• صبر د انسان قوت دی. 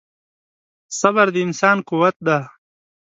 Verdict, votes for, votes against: accepted, 2, 0